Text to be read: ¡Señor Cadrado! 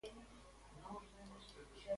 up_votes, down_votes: 0, 2